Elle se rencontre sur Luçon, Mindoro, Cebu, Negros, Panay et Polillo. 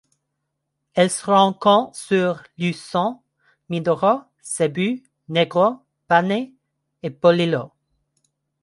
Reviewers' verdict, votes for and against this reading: rejected, 1, 2